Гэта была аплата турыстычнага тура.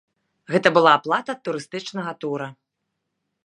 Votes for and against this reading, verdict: 2, 0, accepted